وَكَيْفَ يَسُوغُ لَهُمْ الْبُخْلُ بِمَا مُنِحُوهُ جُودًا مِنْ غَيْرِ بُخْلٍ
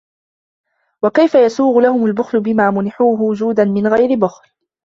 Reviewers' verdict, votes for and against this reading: rejected, 1, 2